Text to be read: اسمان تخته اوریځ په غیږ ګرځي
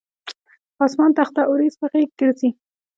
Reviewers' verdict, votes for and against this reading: accepted, 2, 0